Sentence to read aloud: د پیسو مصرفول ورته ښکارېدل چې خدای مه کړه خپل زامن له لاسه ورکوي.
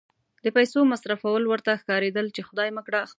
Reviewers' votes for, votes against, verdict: 1, 2, rejected